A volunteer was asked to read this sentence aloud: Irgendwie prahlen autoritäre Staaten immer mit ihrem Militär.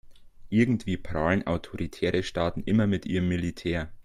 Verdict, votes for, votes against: accepted, 2, 0